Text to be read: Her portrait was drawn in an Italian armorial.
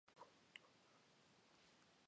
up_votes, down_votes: 0, 2